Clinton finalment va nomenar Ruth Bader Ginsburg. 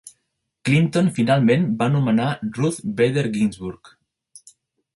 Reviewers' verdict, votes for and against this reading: accepted, 4, 0